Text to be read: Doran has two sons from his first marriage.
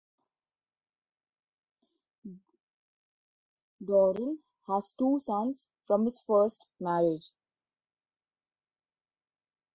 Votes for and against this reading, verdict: 0, 2, rejected